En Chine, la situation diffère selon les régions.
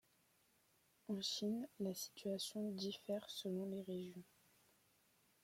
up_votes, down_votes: 0, 2